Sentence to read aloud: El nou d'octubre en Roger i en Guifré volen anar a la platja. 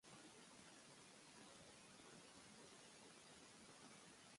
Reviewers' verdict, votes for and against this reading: rejected, 0, 2